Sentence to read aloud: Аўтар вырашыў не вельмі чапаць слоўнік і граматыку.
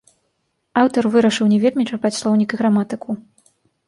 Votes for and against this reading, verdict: 2, 0, accepted